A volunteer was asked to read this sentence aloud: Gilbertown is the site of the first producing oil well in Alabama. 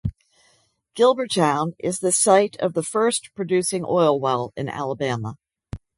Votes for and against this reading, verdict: 2, 0, accepted